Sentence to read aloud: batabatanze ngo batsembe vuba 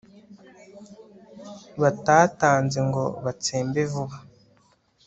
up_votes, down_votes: 1, 2